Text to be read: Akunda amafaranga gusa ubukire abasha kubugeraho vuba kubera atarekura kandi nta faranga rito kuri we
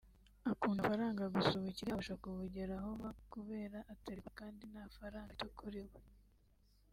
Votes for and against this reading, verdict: 1, 2, rejected